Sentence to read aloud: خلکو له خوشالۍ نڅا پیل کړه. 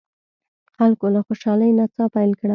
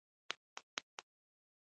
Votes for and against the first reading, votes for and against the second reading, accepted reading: 2, 0, 0, 2, first